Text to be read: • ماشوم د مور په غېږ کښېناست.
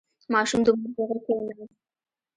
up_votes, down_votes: 0, 2